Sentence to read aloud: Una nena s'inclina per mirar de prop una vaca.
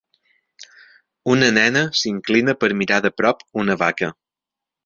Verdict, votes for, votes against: accepted, 3, 0